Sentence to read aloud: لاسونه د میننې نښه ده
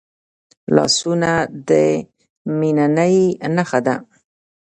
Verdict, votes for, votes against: accepted, 2, 1